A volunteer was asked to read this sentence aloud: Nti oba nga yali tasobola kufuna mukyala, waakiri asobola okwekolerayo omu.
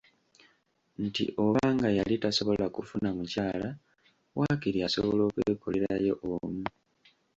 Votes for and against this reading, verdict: 1, 2, rejected